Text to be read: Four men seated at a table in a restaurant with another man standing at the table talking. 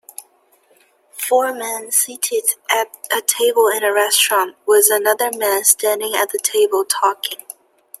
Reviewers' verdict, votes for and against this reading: accepted, 2, 0